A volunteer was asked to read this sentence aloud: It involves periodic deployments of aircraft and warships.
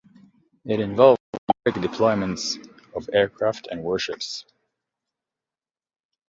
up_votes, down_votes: 0, 2